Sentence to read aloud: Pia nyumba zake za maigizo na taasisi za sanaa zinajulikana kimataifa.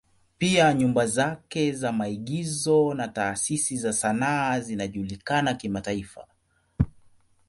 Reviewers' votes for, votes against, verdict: 2, 1, accepted